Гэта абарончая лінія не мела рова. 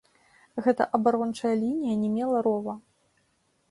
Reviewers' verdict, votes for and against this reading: accepted, 4, 0